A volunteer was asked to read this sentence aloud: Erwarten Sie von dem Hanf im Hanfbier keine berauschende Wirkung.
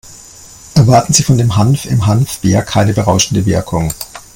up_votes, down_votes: 2, 1